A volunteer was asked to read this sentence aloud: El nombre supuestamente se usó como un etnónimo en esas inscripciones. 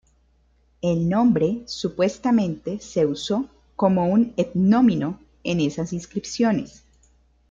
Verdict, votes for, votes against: rejected, 1, 2